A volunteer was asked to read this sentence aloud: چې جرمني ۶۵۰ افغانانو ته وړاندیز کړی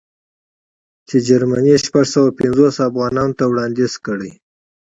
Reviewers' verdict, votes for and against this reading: rejected, 0, 2